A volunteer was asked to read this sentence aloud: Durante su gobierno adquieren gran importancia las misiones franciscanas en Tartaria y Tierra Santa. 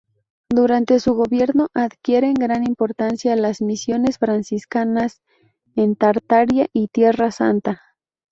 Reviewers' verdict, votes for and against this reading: rejected, 0, 2